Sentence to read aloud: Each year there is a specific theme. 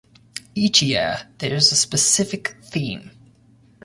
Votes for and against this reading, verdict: 2, 0, accepted